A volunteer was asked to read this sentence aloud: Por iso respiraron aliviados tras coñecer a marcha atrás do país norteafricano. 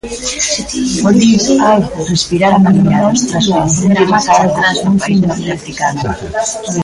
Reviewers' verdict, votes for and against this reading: rejected, 0, 2